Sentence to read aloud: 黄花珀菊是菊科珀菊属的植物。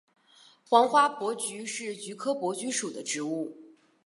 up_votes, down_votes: 4, 0